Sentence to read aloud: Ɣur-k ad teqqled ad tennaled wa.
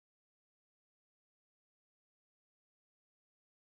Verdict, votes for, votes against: rejected, 0, 2